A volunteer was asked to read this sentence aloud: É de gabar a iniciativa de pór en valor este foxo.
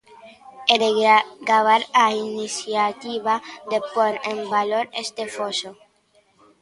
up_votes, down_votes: 1, 2